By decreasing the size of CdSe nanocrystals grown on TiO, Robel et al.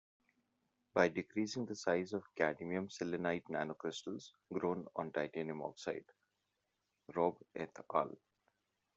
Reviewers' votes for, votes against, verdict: 0, 2, rejected